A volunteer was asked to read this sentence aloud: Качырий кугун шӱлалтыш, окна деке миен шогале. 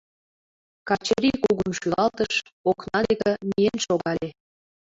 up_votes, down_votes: 1, 3